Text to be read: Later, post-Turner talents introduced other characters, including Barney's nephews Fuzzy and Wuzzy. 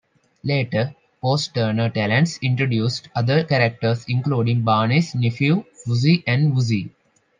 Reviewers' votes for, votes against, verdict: 0, 2, rejected